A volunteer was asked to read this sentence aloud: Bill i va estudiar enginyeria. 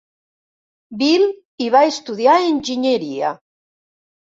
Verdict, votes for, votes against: accepted, 3, 0